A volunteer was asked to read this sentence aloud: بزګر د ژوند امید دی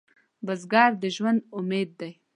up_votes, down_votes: 2, 0